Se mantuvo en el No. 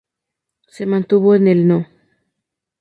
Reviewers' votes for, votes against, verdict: 2, 0, accepted